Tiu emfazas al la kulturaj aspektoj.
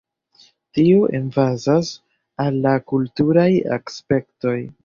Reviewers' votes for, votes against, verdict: 0, 2, rejected